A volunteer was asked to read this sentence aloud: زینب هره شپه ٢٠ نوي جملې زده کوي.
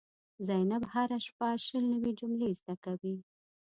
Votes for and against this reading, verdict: 0, 2, rejected